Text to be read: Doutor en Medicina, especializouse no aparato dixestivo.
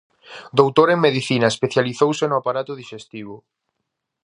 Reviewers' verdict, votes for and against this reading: accepted, 4, 0